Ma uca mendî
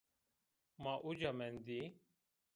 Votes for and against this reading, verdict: 1, 2, rejected